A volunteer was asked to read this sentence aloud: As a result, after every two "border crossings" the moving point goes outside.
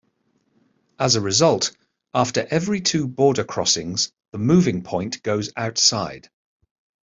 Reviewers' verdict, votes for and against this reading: accepted, 2, 0